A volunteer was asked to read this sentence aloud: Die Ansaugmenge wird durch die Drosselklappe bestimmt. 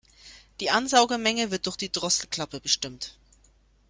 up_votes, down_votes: 0, 2